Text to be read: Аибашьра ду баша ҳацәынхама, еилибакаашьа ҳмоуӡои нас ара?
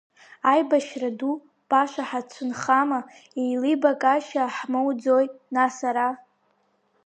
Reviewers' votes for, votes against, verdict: 3, 0, accepted